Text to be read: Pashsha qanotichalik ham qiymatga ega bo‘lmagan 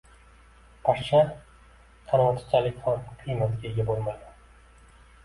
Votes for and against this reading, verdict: 1, 2, rejected